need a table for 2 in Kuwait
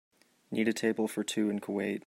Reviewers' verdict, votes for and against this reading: rejected, 0, 2